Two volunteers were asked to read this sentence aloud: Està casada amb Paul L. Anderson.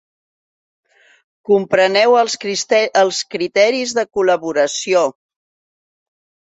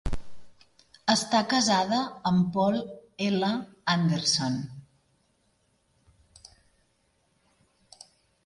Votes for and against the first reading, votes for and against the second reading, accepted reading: 0, 2, 3, 0, second